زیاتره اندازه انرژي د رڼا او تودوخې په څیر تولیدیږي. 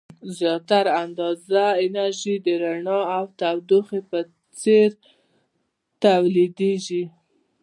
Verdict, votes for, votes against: rejected, 0, 2